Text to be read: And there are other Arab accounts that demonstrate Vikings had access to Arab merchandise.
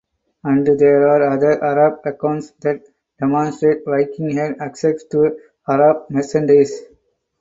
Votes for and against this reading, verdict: 2, 0, accepted